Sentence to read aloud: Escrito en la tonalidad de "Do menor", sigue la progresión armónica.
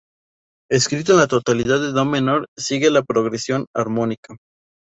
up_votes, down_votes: 2, 0